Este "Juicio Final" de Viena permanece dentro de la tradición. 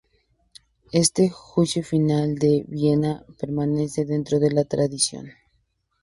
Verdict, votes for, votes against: accepted, 2, 0